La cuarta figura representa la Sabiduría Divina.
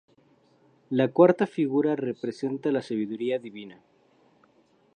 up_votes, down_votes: 4, 0